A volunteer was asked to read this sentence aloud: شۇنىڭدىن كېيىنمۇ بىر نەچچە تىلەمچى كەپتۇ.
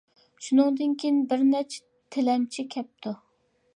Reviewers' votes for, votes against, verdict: 0, 2, rejected